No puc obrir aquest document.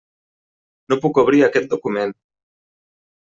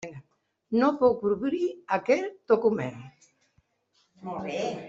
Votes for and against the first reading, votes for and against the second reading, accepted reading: 3, 0, 0, 2, first